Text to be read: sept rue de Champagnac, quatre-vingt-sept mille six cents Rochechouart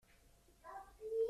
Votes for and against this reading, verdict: 0, 2, rejected